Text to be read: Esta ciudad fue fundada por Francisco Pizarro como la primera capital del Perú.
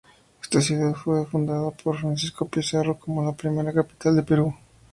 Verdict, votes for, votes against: accepted, 4, 0